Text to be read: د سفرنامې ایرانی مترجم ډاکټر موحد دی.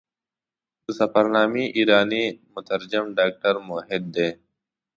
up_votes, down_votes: 2, 0